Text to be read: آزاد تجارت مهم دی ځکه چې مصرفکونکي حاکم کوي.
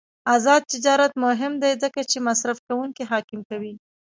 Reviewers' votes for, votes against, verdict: 0, 2, rejected